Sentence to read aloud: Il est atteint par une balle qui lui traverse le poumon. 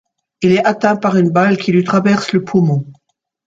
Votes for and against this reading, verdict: 2, 1, accepted